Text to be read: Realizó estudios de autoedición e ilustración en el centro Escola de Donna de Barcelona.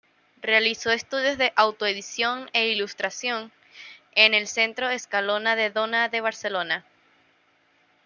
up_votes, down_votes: 1, 2